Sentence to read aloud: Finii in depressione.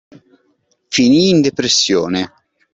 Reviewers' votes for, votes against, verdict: 2, 0, accepted